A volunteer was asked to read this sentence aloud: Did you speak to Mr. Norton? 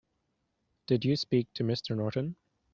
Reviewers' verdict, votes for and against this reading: accepted, 2, 0